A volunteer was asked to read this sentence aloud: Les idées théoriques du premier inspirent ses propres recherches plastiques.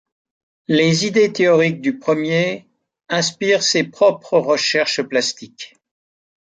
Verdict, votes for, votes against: accepted, 2, 0